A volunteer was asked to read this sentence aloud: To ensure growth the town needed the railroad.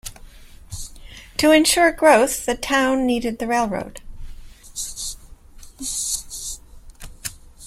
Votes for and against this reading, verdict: 2, 0, accepted